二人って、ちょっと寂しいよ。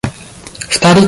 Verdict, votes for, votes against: rejected, 0, 2